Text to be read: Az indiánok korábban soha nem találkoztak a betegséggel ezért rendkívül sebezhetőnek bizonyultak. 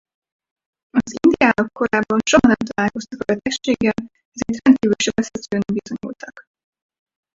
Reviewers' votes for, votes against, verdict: 0, 4, rejected